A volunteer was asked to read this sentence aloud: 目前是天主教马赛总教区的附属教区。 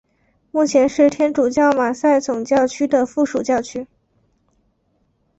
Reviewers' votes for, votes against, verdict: 2, 0, accepted